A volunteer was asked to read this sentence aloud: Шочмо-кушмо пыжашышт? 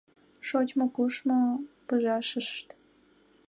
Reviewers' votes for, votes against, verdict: 2, 1, accepted